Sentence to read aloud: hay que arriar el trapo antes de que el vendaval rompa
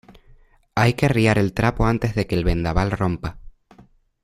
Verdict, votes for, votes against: accepted, 2, 0